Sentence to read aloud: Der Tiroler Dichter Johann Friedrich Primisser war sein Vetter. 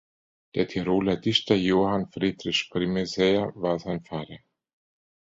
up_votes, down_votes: 0, 2